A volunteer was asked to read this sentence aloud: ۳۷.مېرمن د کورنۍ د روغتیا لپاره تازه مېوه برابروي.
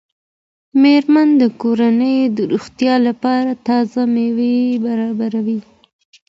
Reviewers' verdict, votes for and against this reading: rejected, 0, 2